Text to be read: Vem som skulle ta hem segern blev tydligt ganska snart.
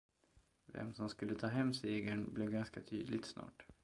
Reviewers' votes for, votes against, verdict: 0, 2, rejected